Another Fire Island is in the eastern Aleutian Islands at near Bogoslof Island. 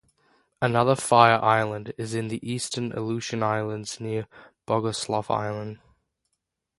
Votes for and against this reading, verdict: 0, 3, rejected